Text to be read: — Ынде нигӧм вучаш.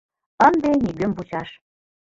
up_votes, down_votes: 2, 0